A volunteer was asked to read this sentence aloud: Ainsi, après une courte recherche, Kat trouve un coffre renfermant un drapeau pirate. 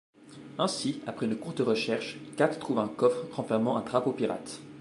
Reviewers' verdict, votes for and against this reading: accepted, 2, 0